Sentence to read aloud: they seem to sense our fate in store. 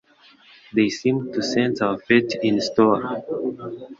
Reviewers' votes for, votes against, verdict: 0, 3, rejected